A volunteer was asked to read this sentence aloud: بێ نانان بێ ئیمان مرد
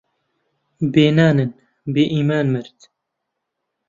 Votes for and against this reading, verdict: 1, 2, rejected